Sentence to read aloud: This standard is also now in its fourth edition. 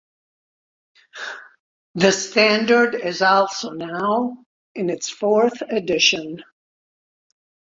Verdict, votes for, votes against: rejected, 1, 2